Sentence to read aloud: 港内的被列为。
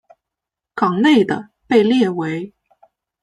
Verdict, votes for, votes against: accepted, 2, 0